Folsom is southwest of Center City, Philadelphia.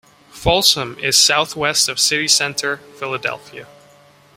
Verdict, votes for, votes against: rejected, 1, 2